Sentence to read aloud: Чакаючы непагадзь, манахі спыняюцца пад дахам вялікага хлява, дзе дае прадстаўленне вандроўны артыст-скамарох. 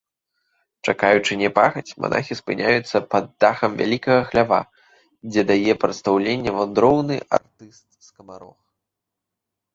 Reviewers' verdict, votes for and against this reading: rejected, 1, 3